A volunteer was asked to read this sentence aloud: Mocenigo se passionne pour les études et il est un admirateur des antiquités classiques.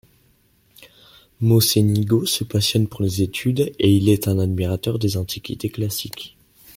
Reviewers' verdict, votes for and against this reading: accepted, 2, 0